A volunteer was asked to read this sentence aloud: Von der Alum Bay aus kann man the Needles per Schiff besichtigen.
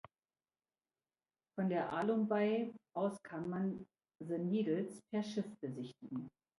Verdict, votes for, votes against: accepted, 2, 0